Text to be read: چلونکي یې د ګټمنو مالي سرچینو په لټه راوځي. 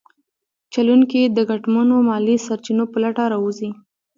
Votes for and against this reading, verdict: 0, 2, rejected